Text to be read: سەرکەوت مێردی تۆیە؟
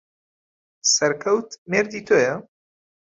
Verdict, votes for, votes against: accepted, 2, 0